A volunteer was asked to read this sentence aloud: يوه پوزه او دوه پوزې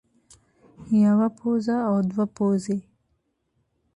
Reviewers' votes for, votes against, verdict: 0, 2, rejected